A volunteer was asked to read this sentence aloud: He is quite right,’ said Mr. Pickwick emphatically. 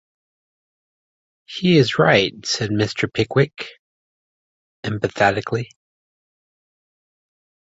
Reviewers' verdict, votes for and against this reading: rejected, 1, 2